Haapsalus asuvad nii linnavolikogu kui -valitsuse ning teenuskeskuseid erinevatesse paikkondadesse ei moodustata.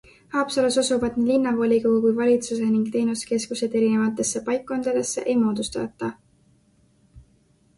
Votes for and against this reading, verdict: 2, 0, accepted